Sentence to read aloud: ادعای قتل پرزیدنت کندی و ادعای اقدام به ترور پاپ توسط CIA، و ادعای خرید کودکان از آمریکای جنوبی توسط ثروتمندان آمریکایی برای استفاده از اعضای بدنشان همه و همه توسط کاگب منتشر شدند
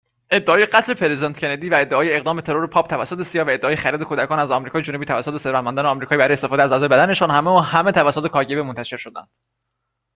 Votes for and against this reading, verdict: 2, 0, accepted